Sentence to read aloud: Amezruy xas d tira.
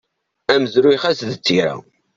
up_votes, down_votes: 2, 0